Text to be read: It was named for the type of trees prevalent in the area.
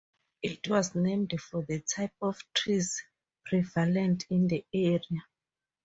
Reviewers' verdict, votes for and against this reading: accepted, 4, 0